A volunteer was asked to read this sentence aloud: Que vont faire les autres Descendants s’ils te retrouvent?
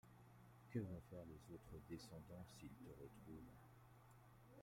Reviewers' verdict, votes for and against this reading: accepted, 2, 1